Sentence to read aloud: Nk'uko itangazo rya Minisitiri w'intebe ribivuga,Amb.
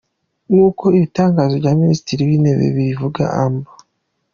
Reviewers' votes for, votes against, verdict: 2, 1, accepted